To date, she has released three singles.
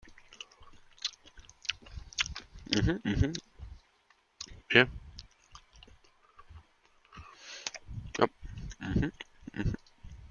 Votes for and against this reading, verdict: 0, 2, rejected